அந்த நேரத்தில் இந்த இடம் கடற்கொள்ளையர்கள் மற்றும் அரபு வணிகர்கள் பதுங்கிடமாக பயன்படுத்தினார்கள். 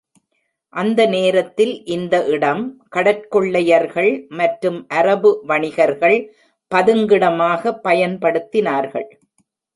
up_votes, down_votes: 2, 0